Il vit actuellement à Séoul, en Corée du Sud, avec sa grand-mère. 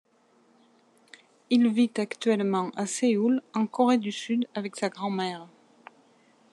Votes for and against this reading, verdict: 2, 0, accepted